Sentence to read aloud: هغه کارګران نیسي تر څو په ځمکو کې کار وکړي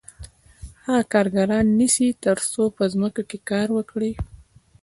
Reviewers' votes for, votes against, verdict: 2, 0, accepted